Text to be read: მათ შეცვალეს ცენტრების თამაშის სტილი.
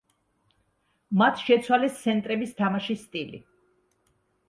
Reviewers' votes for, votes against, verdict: 2, 1, accepted